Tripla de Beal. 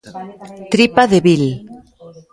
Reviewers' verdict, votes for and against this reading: rejected, 1, 2